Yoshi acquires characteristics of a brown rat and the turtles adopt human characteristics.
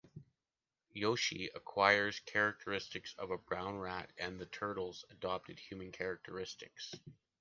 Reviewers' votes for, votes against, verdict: 2, 0, accepted